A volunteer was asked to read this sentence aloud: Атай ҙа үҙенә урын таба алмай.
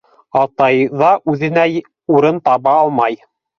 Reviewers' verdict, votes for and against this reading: accepted, 2, 0